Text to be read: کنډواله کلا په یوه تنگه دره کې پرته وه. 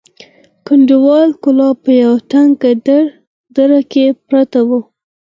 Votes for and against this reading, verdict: 0, 4, rejected